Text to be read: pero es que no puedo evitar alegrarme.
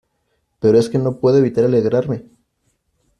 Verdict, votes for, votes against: accepted, 2, 0